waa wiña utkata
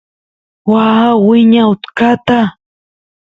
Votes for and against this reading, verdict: 2, 0, accepted